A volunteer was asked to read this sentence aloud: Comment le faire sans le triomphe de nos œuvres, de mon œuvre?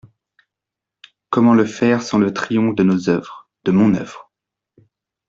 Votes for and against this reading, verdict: 2, 0, accepted